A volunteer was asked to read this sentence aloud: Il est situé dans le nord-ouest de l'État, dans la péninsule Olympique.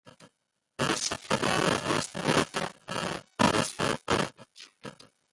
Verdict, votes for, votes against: rejected, 0, 2